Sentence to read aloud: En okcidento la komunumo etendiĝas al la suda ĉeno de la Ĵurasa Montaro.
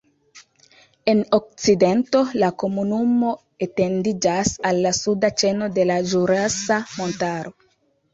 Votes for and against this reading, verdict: 4, 0, accepted